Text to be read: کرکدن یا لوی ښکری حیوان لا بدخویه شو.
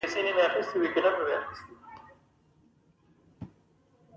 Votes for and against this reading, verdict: 0, 2, rejected